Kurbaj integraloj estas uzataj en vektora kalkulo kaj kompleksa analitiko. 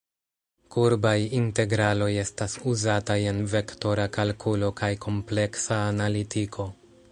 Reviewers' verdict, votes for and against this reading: rejected, 0, 2